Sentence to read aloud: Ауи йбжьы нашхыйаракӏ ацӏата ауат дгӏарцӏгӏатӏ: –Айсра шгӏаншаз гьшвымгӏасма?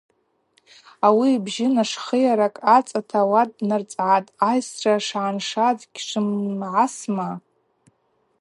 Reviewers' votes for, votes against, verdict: 2, 2, rejected